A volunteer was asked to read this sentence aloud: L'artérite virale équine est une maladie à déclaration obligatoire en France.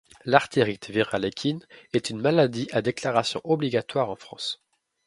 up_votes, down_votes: 2, 0